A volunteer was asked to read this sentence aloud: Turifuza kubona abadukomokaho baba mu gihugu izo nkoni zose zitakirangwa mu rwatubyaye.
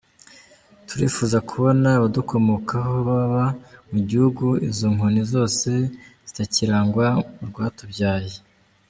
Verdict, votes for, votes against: accepted, 2, 0